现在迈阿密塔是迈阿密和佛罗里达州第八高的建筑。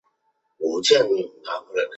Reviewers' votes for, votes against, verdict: 1, 2, rejected